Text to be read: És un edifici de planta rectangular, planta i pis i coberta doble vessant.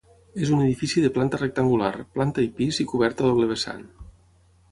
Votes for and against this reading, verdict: 6, 0, accepted